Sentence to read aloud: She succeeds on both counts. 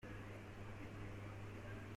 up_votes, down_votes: 0, 2